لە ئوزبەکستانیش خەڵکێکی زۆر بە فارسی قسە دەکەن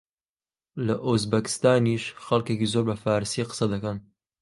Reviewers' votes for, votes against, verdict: 2, 0, accepted